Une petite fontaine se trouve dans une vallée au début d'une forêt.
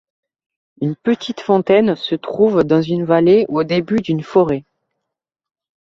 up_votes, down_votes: 2, 1